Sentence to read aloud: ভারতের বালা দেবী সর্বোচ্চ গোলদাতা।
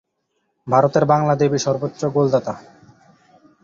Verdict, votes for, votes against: rejected, 0, 2